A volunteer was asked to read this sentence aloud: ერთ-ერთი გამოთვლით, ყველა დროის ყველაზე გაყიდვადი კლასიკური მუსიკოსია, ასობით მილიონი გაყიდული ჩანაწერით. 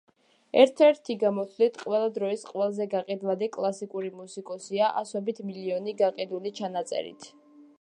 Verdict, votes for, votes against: accepted, 2, 0